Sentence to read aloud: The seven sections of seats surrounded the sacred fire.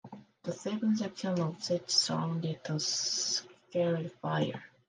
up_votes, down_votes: 1, 4